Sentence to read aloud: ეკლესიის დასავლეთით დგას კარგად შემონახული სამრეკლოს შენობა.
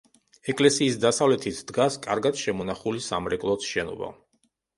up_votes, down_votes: 1, 2